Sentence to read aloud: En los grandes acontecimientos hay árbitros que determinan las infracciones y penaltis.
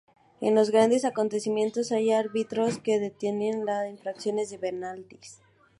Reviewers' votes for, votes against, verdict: 0, 2, rejected